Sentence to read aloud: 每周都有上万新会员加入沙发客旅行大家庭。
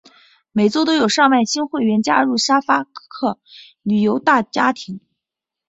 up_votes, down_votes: 2, 4